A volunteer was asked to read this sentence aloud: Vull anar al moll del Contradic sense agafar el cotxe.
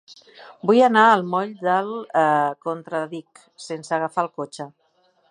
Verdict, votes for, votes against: rejected, 0, 2